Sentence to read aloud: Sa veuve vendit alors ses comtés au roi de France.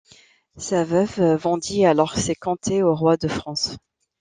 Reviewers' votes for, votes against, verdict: 2, 1, accepted